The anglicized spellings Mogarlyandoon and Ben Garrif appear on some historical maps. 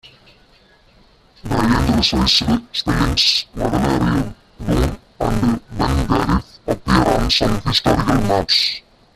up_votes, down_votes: 0, 2